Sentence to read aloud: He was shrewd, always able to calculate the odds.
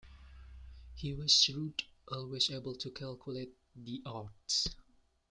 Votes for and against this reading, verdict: 2, 0, accepted